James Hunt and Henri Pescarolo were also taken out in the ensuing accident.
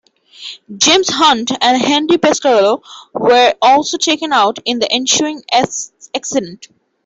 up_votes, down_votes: 0, 2